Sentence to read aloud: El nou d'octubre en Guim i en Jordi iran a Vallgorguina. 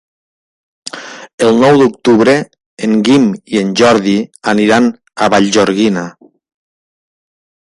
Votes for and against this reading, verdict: 0, 3, rejected